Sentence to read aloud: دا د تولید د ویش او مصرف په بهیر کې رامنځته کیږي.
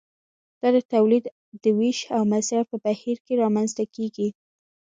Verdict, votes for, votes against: accepted, 2, 1